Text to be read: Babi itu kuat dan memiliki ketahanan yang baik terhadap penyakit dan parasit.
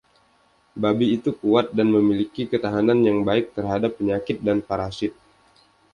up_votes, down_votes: 2, 0